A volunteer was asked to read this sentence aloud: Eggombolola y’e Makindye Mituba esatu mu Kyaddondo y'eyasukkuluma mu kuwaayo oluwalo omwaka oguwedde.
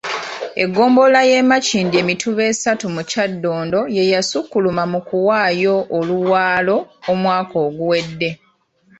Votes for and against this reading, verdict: 1, 2, rejected